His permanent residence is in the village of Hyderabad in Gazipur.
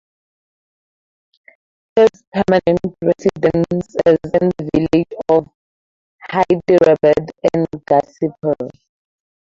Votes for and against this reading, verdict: 2, 0, accepted